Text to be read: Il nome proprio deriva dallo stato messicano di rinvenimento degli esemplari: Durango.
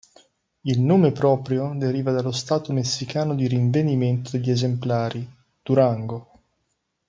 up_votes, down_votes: 3, 0